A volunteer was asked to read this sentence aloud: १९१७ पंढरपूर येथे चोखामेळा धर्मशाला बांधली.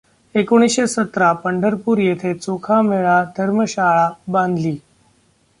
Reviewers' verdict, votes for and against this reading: rejected, 0, 2